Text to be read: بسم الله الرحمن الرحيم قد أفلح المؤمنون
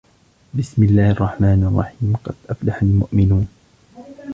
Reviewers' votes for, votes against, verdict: 2, 0, accepted